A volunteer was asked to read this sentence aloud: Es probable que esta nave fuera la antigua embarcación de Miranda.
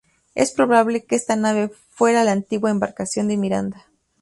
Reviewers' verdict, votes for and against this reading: rejected, 2, 2